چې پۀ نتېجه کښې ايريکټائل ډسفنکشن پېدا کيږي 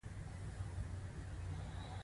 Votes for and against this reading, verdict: 2, 1, accepted